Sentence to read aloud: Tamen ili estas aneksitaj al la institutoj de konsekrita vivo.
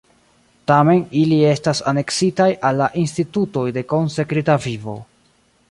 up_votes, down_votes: 3, 2